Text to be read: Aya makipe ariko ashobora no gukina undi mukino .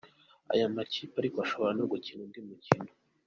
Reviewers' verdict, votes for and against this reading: accepted, 2, 1